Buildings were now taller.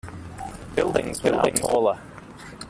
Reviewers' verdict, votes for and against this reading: rejected, 0, 2